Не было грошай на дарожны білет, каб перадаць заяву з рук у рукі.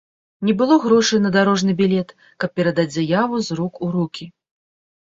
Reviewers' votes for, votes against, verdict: 2, 0, accepted